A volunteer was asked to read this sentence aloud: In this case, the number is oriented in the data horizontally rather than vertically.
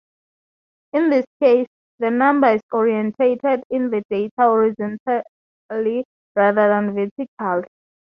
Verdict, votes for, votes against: rejected, 0, 2